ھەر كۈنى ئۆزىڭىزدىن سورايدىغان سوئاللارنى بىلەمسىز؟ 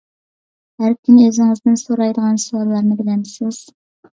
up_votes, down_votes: 2, 0